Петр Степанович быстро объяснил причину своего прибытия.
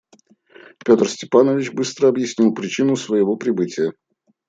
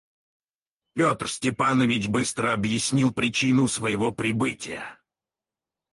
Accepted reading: first